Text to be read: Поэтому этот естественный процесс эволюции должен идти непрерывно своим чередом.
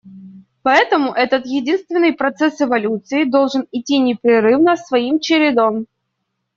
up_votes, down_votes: 1, 2